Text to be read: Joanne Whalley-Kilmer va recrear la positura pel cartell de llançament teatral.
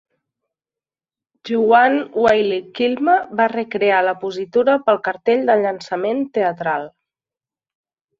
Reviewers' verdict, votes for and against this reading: accepted, 2, 1